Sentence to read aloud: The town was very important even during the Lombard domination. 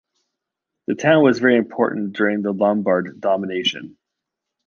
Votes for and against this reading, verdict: 0, 2, rejected